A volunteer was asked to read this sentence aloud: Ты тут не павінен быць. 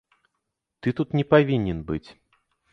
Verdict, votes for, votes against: accepted, 2, 0